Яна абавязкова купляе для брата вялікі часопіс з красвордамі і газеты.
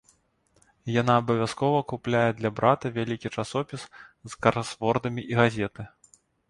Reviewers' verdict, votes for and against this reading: accepted, 2, 0